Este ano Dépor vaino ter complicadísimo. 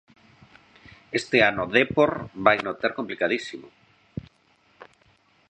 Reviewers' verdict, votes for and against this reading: rejected, 1, 2